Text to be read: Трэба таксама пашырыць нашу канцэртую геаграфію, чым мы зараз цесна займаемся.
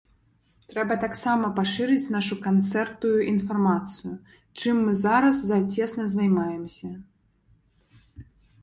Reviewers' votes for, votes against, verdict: 2, 0, accepted